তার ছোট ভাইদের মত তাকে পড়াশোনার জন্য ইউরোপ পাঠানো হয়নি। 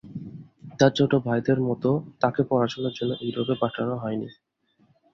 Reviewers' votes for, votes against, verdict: 2, 0, accepted